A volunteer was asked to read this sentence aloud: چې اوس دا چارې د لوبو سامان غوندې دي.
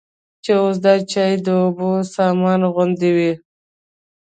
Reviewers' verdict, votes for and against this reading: rejected, 0, 2